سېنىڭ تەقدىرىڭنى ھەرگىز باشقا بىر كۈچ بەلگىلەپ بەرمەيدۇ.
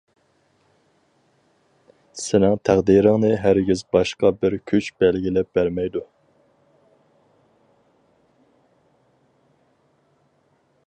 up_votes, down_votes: 4, 0